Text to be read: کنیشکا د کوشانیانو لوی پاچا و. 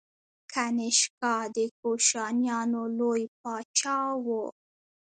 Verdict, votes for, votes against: rejected, 0, 2